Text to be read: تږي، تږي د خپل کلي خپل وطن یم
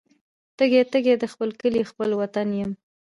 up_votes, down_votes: 2, 0